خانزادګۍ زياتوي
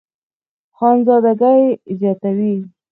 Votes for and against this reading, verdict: 4, 0, accepted